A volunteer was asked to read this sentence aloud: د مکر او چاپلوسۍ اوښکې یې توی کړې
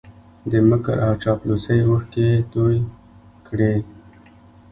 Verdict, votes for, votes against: rejected, 0, 2